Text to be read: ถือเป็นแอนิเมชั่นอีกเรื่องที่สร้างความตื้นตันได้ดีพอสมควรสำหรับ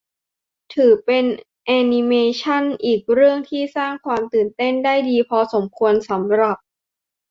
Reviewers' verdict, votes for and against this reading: rejected, 1, 2